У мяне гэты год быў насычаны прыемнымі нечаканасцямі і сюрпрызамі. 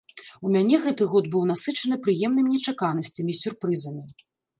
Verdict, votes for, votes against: rejected, 1, 2